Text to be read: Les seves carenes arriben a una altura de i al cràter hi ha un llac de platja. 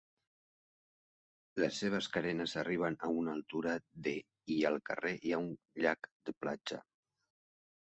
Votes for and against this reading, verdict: 0, 2, rejected